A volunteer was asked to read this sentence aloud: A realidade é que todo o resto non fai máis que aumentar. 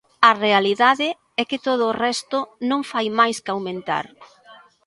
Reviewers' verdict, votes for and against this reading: accepted, 2, 0